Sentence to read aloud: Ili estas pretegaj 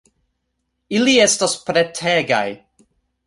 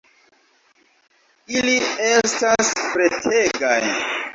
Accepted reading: first